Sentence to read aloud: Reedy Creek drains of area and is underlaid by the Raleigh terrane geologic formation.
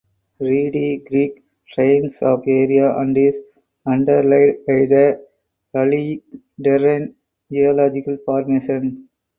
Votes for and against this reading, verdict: 2, 4, rejected